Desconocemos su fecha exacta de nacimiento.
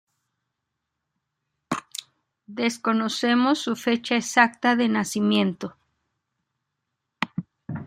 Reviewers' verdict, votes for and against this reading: rejected, 1, 2